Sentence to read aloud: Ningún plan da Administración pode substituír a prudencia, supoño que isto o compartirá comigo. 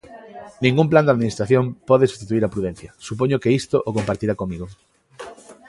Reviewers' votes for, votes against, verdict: 0, 2, rejected